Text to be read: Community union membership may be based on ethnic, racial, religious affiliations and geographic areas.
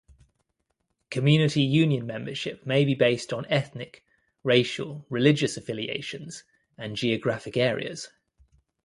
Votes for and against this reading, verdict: 2, 0, accepted